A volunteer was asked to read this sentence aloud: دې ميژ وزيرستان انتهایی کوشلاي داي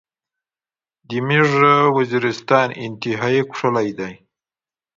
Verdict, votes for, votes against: accepted, 2, 0